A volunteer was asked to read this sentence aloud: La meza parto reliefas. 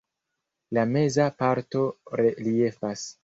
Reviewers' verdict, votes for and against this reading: accepted, 2, 1